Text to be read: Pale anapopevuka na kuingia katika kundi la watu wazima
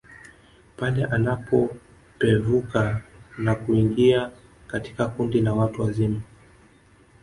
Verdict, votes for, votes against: rejected, 1, 2